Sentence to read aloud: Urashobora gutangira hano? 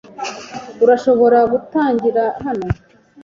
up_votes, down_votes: 2, 0